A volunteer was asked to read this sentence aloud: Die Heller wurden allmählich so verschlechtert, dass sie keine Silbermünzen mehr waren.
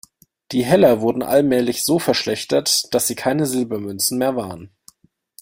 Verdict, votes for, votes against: accepted, 2, 0